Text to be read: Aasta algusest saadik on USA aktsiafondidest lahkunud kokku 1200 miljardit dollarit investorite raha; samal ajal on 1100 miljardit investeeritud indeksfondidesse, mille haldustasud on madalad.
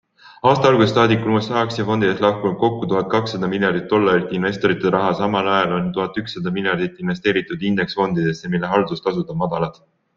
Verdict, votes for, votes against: rejected, 0, 2